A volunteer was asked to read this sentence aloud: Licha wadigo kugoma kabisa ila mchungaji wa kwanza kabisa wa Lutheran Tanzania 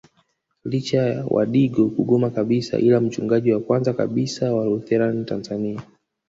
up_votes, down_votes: 2, 1